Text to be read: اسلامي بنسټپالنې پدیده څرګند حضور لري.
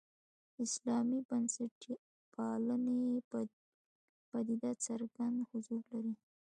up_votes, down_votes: 1, 2